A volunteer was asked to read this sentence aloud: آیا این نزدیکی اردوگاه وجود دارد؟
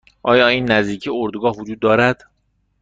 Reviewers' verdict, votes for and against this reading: accepted, 2, 0